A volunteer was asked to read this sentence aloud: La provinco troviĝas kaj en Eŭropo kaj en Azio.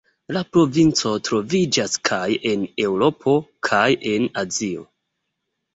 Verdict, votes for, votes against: accepted, 3, 0